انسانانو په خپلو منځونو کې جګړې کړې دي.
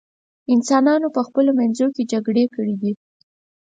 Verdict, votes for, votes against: accepted, 4, 0